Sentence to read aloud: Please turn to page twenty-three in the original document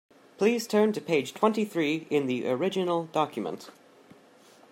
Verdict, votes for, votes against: accepted, 2, 0